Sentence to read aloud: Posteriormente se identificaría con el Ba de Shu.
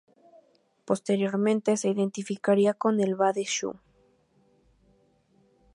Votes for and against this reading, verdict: 4, 0, accepted